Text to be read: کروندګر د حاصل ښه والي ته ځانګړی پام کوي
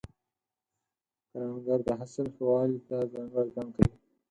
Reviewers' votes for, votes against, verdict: 2, 4, rejected